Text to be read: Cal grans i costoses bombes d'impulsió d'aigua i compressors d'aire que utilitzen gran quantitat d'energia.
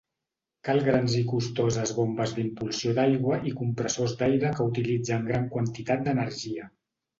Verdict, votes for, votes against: accepted, 2, 0